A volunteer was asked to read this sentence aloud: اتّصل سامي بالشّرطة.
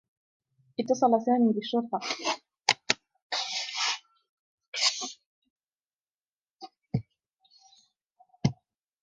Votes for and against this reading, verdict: 0, 2, rejected